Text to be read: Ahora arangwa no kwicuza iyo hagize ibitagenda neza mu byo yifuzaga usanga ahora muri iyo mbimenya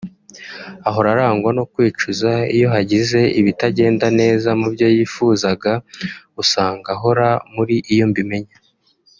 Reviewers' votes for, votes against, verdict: 2, 1, accepted